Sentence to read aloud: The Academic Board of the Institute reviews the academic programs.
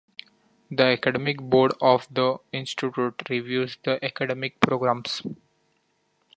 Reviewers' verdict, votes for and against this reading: rejected, 0, 2